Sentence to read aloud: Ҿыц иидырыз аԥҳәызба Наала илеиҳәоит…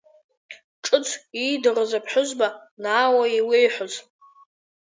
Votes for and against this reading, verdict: 0, 2, rejected